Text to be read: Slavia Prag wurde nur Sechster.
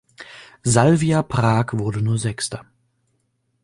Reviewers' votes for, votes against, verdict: 1, 2, rejected